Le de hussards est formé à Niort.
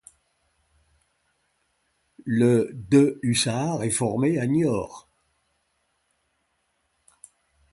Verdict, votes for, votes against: accepted, 2, 0